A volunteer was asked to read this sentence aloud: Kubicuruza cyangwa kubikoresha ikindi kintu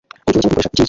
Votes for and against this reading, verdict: 0, 2, rejected